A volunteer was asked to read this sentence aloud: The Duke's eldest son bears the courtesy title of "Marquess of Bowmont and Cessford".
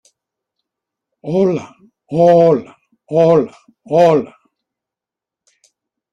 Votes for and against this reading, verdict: 0, 2, rejected